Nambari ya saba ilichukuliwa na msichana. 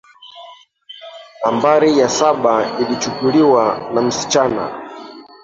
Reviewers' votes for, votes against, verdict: 2, 3, rejected